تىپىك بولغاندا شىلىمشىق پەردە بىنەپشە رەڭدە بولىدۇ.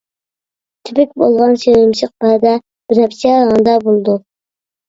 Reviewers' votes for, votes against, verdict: 0, 2, rejected